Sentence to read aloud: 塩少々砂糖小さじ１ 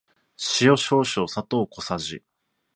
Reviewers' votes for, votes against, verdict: 0, 2, rejected